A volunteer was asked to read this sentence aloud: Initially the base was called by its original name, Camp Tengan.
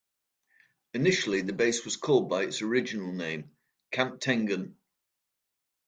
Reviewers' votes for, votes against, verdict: 2, 0, accepted